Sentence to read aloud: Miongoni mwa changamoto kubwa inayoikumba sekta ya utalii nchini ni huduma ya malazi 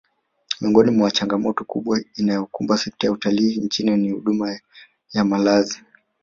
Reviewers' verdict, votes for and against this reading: rejected, 1, 2